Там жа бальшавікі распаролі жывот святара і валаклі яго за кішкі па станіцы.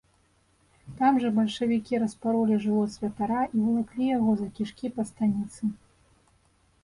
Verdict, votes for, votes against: accepted, 2, 0